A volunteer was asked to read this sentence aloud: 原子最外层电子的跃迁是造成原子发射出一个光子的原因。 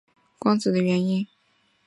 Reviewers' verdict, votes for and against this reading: rejected, 0, 3